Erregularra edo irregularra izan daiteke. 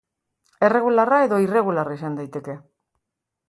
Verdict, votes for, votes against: accepted, 2, 0